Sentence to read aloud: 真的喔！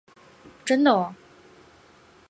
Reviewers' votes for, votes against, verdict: 5, 0, accepted